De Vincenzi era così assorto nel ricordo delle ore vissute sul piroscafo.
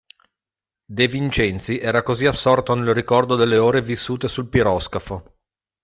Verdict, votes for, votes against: accepted, 2, 0